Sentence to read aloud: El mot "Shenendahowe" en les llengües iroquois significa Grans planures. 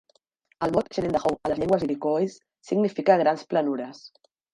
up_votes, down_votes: 0, 2